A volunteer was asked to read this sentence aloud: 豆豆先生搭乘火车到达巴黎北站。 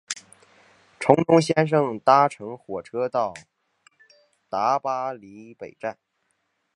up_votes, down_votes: 2, 3